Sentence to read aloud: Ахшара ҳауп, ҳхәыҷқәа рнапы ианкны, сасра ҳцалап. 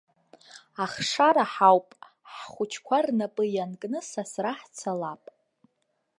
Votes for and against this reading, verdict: 2, 0, accepted